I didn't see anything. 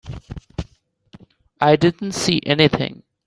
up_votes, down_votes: 3, 0